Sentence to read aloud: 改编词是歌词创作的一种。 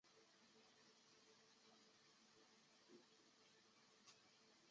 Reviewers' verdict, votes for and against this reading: rejected, 0, 2